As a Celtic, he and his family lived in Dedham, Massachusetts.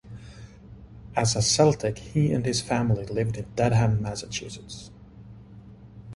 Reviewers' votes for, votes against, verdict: 2, 0, accepted